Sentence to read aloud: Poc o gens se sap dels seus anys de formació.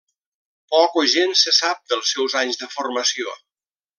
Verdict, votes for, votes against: accepted, 3, 0